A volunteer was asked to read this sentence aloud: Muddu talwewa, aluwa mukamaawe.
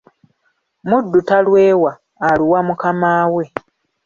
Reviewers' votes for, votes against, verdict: 2, 0, accepted